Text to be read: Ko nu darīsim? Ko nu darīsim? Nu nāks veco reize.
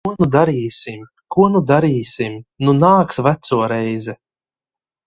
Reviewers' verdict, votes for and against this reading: rejected, 0, 2